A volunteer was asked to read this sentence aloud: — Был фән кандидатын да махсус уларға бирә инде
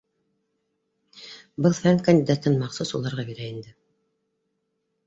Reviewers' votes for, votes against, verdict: 0, 2, rejected